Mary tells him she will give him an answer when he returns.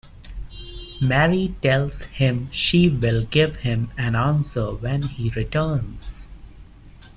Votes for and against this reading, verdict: 2, 0, accepted